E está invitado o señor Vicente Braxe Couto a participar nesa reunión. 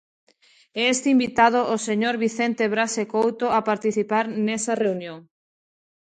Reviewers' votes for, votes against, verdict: 0, 2, rejected